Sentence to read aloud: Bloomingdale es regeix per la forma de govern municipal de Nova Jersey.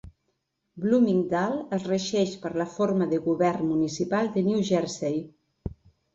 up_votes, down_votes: 0, 2